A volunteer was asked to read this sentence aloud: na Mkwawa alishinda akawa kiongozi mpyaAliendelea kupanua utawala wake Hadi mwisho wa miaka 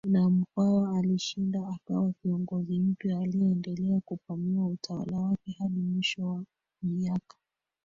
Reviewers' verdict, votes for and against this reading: rejected, 1, 2